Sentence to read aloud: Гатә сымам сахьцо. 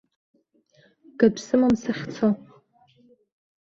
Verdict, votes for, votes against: rejected, 1, 2